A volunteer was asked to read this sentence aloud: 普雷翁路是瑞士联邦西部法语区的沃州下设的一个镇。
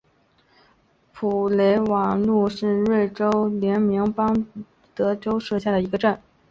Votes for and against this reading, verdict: 2, 2, rejected